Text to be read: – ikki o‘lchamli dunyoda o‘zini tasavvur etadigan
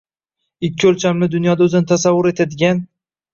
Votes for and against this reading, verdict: 1, 2, rejected